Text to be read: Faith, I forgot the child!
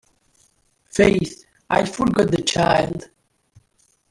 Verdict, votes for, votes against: rejected, 1, 2